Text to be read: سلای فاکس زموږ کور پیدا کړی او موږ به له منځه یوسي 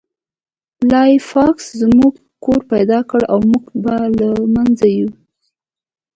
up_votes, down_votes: 1, 2